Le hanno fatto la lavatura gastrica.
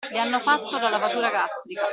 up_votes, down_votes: 2, 1